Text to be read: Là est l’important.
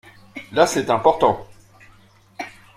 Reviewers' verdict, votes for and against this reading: rejected, 0, 2